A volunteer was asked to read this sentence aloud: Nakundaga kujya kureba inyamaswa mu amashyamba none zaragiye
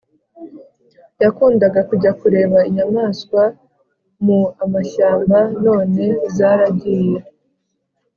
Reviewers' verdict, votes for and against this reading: accepted, 3, 0